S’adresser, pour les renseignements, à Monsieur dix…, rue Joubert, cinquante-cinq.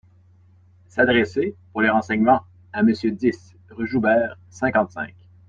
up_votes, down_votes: 2, 0